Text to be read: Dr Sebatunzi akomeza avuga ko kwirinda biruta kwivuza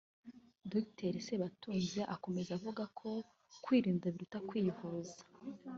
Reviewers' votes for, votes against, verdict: 4, 0, accepted